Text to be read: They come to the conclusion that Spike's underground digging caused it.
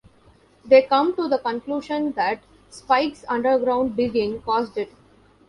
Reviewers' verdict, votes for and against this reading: accepted, 2, 0